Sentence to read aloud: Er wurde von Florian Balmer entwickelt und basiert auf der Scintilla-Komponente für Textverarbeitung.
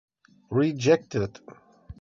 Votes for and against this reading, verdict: 0, 2, rejected